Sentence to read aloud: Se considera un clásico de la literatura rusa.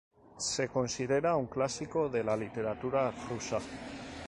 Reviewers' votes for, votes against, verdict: 4, 0, accepted